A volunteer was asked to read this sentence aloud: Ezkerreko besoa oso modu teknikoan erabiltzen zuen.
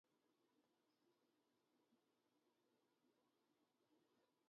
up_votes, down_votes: 0, 2